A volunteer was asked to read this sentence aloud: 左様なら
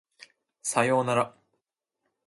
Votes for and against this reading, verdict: 0, 2, rejected